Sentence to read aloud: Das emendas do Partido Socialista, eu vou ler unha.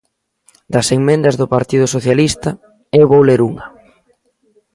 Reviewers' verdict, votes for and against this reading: rejected, 1, 2